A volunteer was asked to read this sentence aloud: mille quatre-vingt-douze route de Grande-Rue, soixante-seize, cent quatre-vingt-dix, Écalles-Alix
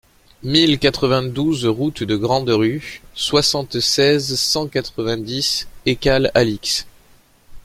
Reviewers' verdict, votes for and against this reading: accepted, 2, 0